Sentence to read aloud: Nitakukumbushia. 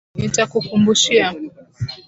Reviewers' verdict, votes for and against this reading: accepted, 4, 0